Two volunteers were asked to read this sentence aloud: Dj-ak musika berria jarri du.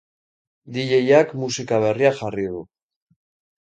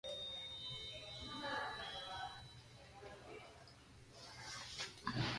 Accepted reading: first